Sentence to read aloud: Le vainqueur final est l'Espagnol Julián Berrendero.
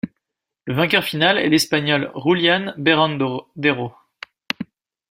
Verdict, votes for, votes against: rejected, 0, 2